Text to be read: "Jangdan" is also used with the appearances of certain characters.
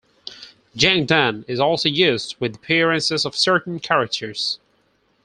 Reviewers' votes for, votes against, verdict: 4, 0, accepted